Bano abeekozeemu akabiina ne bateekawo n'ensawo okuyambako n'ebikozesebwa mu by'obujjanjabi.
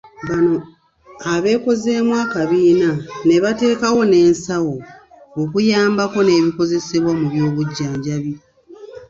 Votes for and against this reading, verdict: 1, 2, rejected